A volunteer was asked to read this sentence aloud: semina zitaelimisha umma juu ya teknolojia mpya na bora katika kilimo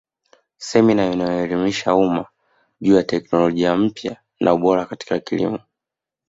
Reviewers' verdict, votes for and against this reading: rejected, 1, 2